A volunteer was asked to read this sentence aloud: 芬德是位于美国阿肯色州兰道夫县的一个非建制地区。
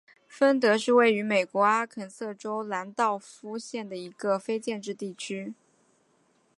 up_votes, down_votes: 2, 0